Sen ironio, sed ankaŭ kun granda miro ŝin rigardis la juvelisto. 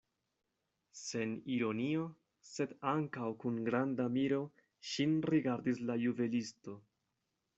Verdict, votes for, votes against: accepted, 2, 0